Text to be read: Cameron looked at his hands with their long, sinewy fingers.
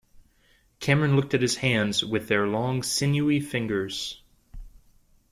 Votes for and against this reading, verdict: 2, 0, accepted